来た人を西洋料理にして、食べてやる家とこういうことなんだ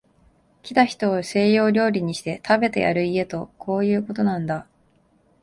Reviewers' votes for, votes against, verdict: 2, 1, accepted